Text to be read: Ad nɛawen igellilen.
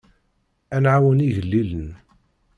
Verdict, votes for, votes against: accepted, 2, 0